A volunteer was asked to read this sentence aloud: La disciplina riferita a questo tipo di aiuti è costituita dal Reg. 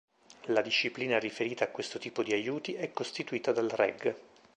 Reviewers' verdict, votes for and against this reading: accepted, 2, 0